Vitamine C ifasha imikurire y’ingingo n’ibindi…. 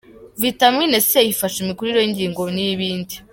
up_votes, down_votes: 2, 0